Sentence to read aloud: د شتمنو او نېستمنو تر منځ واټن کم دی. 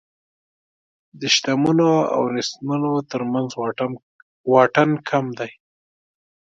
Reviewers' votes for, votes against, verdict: 2, 0, accepted